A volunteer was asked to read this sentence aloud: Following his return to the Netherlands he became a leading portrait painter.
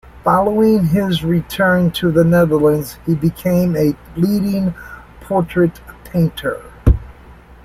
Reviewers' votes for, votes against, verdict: 2, 1, accepted